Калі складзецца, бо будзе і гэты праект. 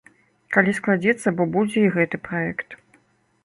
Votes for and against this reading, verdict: 2, 1, accepted